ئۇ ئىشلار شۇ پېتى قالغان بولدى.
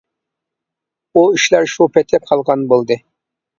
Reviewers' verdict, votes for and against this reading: rejected, 1, 2